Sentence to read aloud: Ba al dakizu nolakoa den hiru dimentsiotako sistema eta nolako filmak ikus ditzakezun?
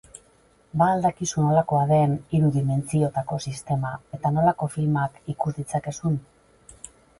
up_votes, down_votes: 0, 2